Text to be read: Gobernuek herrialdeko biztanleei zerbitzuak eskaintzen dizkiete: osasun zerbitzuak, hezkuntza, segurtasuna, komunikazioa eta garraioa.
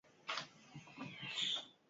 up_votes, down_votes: 0, 4